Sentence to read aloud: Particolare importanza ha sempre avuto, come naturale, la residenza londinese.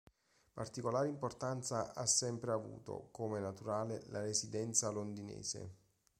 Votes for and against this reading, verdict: 2, 0, accepted